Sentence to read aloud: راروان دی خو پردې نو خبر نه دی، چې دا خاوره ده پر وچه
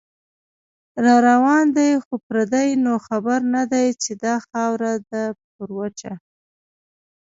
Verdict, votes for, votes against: rejected, 1, 2